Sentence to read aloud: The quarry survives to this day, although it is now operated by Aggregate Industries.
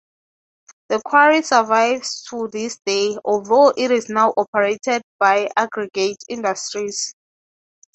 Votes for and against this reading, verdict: 3, 0, accepted